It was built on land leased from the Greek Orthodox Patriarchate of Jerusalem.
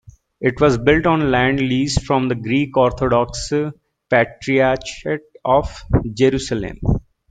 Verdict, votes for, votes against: rejected, 1, 2